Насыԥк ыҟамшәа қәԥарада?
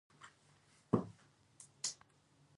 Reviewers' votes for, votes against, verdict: 0, 2, rejected